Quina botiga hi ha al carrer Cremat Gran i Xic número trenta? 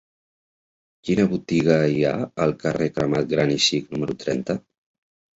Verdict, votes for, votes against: rejected, 1, 2